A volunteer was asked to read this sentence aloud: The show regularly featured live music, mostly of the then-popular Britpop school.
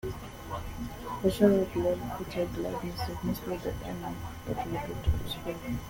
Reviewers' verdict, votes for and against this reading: rejected, 0, 2